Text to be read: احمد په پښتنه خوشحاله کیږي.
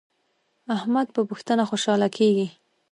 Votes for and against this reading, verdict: 2, 1, accepted